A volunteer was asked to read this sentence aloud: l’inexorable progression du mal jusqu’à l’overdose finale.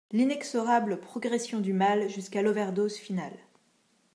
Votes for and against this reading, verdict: 3, 0, accepted